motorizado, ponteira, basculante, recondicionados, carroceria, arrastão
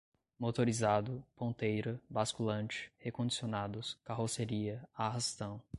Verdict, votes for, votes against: accepted, 2, 0